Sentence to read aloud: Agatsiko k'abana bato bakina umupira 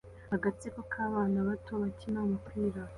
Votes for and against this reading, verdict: 2, 0, accepted